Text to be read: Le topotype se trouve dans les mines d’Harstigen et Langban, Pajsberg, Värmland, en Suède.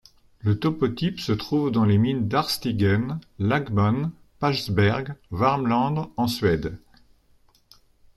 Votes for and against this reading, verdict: 1, 2, rejected